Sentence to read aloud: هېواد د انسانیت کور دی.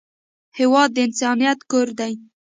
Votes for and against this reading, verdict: 2, 0, accepted